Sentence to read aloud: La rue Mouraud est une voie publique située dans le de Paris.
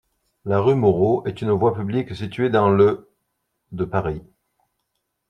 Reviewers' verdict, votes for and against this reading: accepted, 2, 0